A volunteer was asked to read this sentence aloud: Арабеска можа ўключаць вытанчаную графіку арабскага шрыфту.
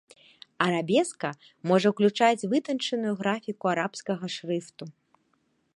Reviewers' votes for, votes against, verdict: 2, 0, accepted